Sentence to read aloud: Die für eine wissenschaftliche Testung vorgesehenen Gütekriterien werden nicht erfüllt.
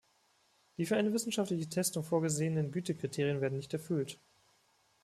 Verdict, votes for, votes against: accepted, 3, 0